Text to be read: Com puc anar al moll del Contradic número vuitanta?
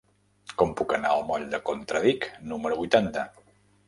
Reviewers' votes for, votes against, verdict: 1, 2, rejected